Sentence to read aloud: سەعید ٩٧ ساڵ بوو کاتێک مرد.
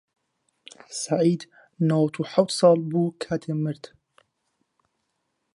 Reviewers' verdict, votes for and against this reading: rejected, 0, 2